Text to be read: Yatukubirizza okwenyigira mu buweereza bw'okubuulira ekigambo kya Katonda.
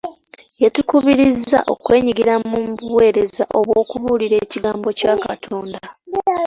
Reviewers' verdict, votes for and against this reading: accepted, 2, 0